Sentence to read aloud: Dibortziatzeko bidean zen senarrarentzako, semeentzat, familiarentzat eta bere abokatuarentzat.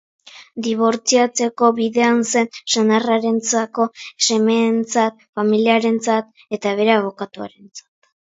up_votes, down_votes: 4, 0